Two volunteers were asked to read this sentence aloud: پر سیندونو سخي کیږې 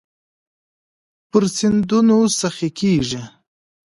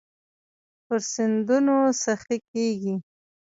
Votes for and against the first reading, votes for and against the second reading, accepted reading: 2, 0, 0, 2, first